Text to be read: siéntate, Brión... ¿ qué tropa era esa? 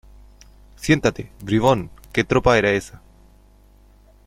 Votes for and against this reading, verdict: 0, 2, rejected